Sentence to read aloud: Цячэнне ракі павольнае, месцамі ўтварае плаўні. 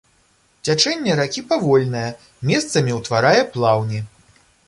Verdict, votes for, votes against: accepted, 2, 0